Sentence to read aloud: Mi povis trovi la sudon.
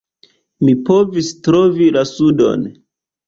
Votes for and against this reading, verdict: 2, 0, accepted